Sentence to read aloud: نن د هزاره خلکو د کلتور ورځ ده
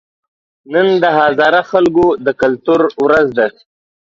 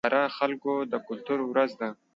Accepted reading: first